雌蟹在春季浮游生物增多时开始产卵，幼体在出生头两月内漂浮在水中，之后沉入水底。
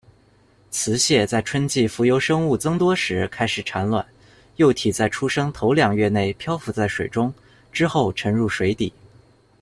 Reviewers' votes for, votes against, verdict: 2, 0, accepted